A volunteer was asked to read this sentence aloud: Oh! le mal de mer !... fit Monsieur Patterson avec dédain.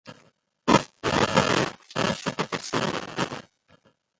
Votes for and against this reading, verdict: 1, 2, rejected